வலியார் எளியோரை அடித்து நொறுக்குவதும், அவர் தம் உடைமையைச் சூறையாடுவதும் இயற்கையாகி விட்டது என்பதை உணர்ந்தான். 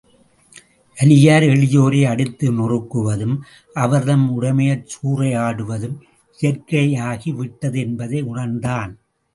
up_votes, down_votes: 2, 0